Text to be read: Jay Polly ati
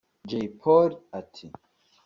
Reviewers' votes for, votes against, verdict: 3, 0, accepted